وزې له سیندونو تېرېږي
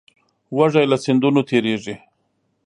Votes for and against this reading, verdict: 0, 2, rejected